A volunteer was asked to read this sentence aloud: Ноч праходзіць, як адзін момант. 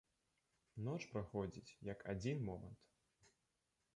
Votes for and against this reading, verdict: 1, 2, rejected